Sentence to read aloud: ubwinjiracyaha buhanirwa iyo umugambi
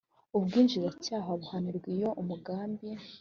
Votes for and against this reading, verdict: 2, 0, accepted